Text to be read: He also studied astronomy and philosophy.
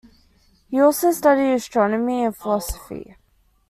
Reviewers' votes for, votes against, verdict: 2, 0, accepted